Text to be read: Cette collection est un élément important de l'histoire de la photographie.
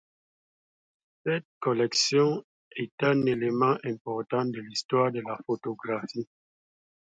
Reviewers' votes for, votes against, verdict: 2, 0, accepted